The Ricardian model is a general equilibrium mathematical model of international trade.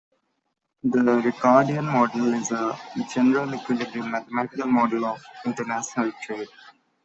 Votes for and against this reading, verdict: 2, 0, accepted